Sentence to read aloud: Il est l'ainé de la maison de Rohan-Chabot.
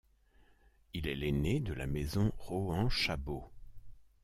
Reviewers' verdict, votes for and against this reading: rejected, 0, 2